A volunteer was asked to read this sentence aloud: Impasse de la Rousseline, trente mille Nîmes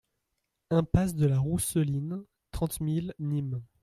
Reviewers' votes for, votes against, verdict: 2, 0, accepted